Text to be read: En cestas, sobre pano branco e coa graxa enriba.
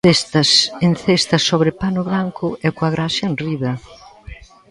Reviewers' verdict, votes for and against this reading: rejected, 0, 2